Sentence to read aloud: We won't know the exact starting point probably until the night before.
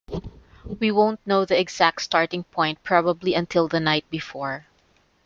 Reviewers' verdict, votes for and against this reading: accepted, 2, 0